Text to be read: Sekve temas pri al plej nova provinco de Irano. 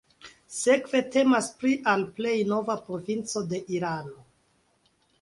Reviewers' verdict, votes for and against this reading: accepted, 4, 1